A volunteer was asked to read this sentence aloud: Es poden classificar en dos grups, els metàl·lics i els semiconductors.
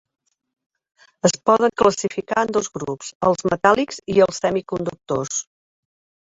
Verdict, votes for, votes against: accepted, 5, 2